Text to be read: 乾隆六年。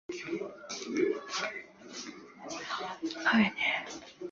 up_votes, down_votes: 0, 3